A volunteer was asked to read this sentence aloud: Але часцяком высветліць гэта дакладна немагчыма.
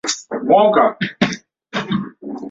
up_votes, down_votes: 0, 2